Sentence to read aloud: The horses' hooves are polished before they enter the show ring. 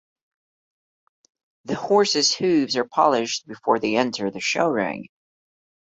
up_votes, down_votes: 2, 0